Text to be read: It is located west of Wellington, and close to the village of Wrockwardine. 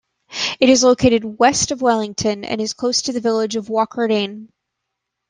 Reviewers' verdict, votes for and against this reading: rejected, 0, 2